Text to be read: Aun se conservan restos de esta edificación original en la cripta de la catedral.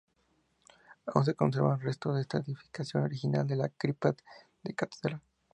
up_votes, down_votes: 2, 0